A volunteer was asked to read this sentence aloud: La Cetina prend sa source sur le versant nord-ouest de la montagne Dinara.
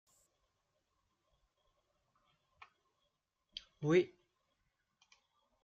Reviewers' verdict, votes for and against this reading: rejected, 0, 2